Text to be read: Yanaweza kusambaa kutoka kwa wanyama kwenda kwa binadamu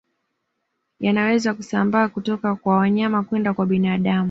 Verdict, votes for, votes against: accepted, 2, 0